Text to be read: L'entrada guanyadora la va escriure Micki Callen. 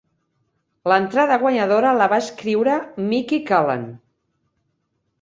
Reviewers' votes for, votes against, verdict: 2, 0, accepted